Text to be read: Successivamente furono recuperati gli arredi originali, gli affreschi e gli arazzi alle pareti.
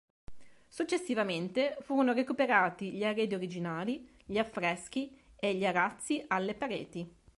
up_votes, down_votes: 2, 0